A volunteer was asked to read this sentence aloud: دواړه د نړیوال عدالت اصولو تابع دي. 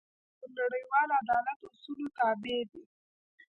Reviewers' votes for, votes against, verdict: 0, 2, rejected